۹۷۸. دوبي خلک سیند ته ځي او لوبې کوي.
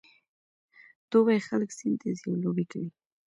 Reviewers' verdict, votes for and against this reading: rejected, 0, 2